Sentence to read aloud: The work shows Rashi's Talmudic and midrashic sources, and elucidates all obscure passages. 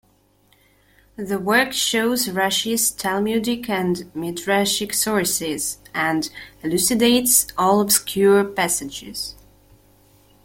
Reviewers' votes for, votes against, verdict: 0, 2, rejected